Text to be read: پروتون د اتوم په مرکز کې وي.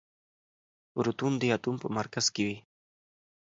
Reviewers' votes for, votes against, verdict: 2, 0, accepted